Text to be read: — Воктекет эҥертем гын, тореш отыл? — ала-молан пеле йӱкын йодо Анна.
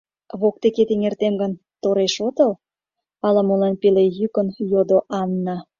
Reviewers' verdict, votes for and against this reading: accepted, 2, 0